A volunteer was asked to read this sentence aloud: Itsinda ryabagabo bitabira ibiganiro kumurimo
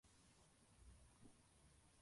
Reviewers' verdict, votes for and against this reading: rejected, 0, 2